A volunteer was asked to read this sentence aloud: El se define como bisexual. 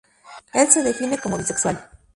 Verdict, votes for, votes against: accepted, 2, 0